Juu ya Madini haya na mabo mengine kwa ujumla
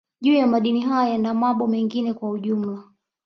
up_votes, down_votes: 2, 1